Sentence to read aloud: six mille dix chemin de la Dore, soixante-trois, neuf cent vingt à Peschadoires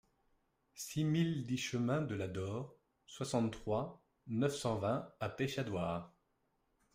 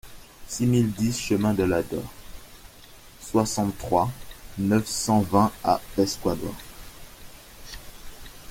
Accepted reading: first